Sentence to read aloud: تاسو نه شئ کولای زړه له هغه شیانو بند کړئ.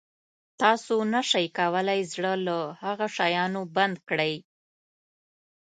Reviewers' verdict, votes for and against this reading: accepted, 2, 0